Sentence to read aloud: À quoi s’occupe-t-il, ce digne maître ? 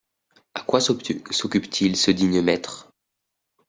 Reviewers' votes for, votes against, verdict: 0, 2, rejected